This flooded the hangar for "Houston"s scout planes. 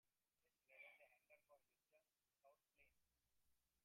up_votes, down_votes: 0, 2